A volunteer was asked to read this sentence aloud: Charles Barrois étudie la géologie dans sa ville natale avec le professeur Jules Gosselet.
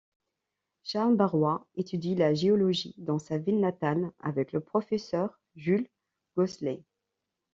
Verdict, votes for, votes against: accepted, 2, 0